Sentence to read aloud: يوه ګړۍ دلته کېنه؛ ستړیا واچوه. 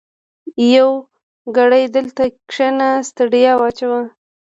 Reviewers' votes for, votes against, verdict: 1, 2, rejected